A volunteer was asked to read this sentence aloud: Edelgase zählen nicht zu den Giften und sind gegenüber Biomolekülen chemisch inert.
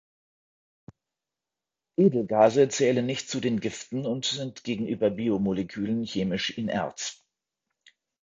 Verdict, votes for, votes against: accepted, 2, 1